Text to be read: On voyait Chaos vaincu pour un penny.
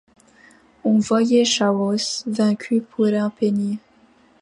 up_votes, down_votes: 1, 2